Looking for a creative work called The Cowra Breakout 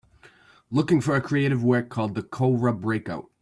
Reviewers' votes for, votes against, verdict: 2, 0, accepted